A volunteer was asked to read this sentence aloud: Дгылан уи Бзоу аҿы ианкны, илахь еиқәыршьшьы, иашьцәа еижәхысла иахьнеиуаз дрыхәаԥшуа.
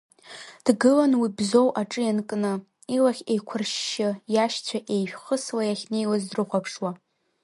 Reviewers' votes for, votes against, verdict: 0, 2, rejected